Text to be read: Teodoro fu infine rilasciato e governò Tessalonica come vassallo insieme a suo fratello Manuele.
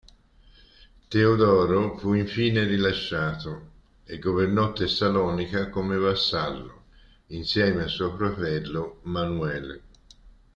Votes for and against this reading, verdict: 2, 0, accepted